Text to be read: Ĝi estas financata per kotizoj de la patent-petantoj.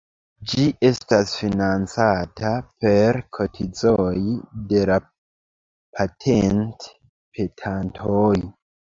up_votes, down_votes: 0, 2